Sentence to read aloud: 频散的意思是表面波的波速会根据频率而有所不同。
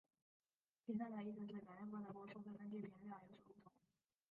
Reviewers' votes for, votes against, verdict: 0, 2, rejected